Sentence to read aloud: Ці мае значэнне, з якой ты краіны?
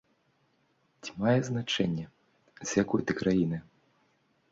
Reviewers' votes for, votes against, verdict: 2, 0, accepted